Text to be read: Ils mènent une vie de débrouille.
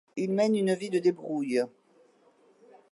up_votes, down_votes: 2, 0